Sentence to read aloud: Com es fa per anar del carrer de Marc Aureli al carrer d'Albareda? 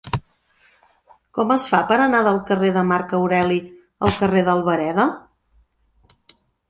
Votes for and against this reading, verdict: 2, 0, accepted